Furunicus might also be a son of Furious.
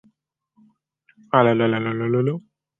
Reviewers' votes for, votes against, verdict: 0, 2, rejected